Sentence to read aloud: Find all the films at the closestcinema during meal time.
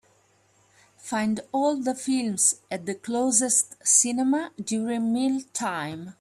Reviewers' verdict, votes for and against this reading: accepted, 3, 0